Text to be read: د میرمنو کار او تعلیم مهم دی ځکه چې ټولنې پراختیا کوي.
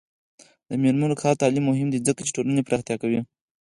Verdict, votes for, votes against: accepted, 4, 0